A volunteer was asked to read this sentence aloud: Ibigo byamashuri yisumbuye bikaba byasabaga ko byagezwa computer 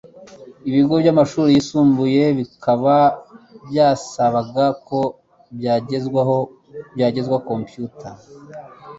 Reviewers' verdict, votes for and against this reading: rejected, 1, 2